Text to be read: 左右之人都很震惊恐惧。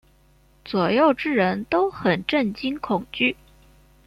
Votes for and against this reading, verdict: 2, 0, accepted